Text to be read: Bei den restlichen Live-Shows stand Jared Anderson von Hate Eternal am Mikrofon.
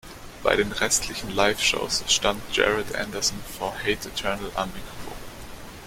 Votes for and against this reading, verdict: 1, 2, rejected